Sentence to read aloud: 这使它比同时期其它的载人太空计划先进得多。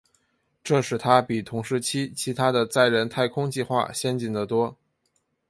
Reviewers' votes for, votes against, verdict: 2, 0, accepted